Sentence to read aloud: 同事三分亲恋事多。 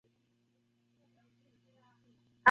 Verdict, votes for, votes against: rejected, 0, 2